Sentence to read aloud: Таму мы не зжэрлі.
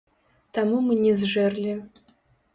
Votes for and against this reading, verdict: 0, 2, rejected